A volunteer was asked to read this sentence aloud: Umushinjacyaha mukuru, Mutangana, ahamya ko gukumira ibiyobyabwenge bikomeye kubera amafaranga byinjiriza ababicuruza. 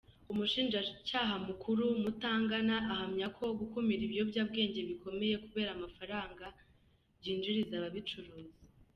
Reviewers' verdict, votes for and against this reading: accepted, 2, 1